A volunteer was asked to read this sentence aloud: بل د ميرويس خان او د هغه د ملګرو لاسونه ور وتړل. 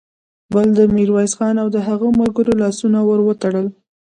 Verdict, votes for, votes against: rejected, 1, 2